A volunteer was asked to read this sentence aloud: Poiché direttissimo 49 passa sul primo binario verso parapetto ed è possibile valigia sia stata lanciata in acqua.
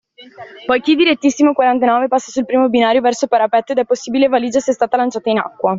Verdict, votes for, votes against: rejected, 0, 2